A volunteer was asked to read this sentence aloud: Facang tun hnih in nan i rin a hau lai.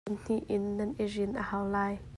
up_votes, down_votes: 0, 2